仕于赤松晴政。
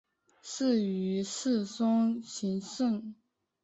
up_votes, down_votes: 1, 2